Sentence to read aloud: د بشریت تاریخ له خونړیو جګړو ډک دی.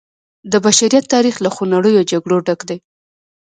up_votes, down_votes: 2, 1